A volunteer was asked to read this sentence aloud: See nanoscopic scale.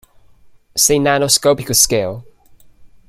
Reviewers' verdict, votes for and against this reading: accepted, 2, 0